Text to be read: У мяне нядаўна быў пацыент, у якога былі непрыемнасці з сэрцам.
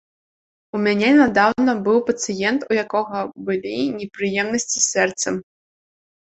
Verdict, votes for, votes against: accepted, 2, 1